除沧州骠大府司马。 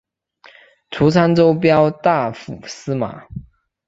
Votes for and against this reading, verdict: 2, 0, accepted